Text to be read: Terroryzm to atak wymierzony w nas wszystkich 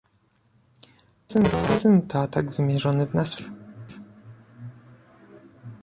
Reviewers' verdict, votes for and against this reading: rejected, 0, 2